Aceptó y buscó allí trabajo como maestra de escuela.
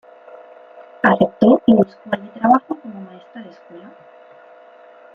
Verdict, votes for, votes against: rejected, 0, 2